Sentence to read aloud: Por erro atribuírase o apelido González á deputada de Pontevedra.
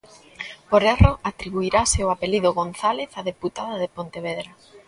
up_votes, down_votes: 1, 2